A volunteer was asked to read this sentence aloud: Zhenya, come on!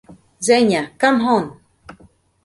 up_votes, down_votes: 2, 0